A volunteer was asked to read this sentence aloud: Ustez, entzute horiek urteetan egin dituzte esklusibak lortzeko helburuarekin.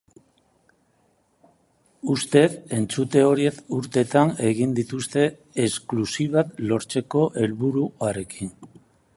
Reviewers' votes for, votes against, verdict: 2, 3, rejected